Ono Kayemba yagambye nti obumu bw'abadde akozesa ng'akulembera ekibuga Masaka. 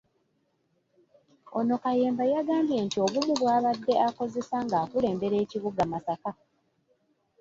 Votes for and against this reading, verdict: 1, 2, rejected